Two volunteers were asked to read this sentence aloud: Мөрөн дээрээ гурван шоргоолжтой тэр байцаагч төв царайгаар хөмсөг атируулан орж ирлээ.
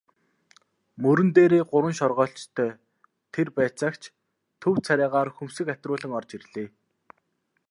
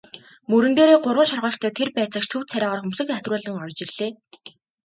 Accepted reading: second